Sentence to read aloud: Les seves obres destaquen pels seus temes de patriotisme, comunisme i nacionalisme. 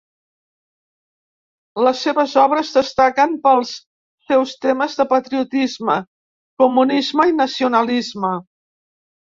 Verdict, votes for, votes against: accepted, 2, 0